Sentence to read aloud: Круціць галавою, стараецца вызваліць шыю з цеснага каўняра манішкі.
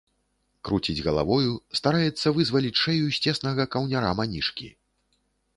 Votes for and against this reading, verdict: 1, 2, rejected